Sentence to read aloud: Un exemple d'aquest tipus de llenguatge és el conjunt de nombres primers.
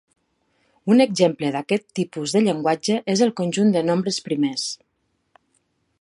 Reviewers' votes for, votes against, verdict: 2, 0, accepted